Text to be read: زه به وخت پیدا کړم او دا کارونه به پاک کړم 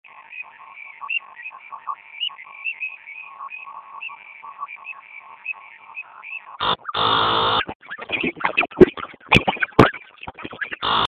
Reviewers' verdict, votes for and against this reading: rejected, 1, 2